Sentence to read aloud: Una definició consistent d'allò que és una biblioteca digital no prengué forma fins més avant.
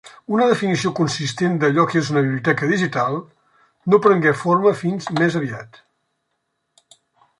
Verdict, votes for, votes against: rejected, 0, 2